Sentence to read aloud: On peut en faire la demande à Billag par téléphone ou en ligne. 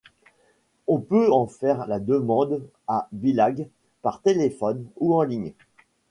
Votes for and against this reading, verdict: 2, 0, accepted